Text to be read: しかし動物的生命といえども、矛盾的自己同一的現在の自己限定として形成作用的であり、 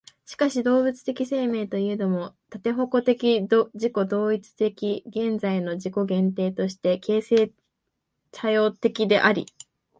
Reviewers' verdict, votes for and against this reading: rejected, 0, 2